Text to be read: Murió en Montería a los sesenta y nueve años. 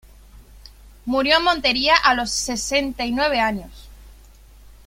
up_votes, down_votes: 1, 2